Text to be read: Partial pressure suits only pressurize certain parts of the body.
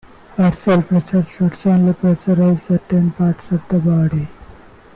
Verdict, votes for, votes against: rejected, 1, 2